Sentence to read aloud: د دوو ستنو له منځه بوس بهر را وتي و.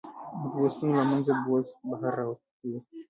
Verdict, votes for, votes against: rejected, 0, 2